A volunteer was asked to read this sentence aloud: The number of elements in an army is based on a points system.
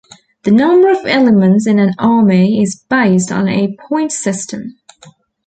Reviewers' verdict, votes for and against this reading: accepted, 2, 0